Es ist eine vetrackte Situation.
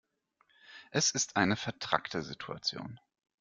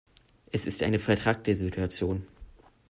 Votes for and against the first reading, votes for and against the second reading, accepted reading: 1, 2, 2, 0, second